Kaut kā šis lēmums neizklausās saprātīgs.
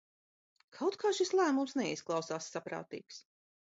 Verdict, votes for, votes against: accepted, 2, 0